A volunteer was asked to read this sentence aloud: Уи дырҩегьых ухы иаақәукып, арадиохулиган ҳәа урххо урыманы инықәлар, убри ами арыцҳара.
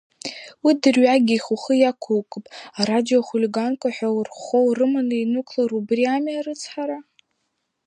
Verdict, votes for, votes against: rejected, 1, 2